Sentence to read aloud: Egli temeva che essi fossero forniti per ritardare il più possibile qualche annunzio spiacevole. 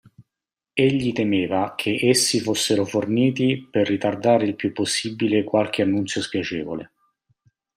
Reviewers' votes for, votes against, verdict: 2, 0, accepted